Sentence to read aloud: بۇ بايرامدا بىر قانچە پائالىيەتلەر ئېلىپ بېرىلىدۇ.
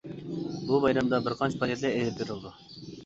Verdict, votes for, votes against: rejected, 0, 2